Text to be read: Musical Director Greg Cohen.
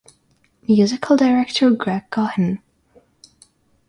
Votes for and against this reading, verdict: 6, 0, accepted